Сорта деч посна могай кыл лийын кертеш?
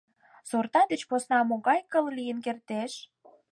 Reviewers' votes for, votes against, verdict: 6, 0, accepted